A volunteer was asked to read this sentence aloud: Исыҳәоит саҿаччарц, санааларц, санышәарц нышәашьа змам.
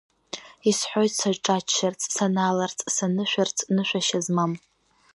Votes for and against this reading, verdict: 2, 1, accepted